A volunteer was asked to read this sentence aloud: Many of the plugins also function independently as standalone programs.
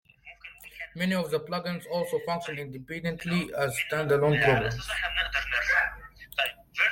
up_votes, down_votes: 0, 2